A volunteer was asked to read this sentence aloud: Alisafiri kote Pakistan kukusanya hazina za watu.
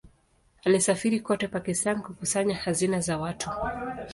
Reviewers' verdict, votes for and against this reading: accepted, 2, 0